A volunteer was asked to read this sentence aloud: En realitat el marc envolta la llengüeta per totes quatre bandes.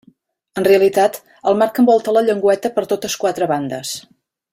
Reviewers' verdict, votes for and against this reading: accepted, 2, 0